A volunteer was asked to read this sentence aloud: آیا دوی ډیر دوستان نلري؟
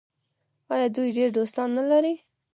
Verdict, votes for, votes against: rejected, 0, 2